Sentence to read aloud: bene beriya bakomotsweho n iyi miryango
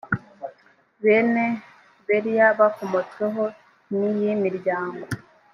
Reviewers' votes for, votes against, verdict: 4, 0, accepted